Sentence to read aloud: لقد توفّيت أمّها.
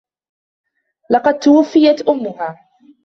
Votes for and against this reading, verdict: 1, 2, rejected